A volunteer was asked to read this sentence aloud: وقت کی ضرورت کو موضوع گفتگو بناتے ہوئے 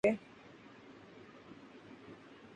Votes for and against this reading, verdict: 1, 2, rejected